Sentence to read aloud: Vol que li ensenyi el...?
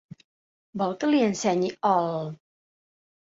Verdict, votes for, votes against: rejected, 1, 2